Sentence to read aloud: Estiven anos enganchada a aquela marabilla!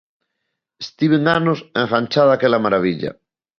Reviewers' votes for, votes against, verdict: 2, 0, accepted